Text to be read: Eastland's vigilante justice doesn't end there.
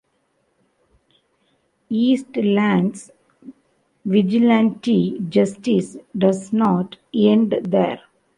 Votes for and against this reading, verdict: 0, 2, rejected